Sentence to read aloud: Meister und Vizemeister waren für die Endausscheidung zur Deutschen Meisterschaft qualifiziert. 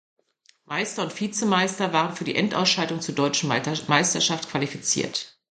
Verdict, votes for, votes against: rejected, 1, 2